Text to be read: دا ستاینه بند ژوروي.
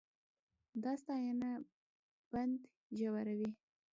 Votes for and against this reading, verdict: 1, 2, rejected